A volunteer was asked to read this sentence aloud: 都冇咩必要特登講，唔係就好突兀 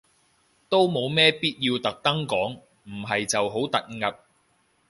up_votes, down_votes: 2, 0